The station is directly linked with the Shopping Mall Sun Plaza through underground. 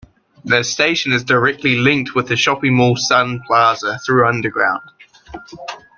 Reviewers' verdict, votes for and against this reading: accepted, 2, 0